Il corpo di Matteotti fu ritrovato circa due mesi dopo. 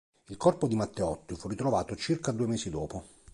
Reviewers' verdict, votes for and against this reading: accepted, 2, 0